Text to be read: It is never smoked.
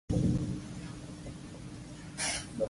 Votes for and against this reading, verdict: 0, 2, rejected